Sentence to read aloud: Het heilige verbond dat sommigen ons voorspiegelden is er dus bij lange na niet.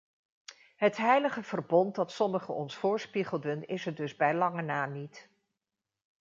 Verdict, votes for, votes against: accepted, 2, 0